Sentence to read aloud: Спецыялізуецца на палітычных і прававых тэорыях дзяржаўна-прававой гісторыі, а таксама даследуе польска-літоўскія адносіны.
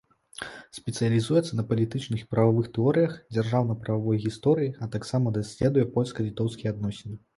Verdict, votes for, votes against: accepted, 2, 0